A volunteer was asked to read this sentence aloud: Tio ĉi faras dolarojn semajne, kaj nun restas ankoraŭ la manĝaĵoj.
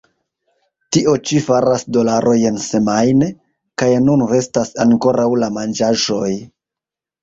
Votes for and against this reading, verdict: 0, 2, rejected